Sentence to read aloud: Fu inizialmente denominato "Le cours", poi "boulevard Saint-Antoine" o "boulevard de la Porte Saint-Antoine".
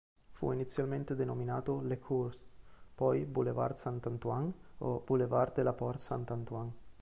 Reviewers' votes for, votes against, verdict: 1, 2, rejected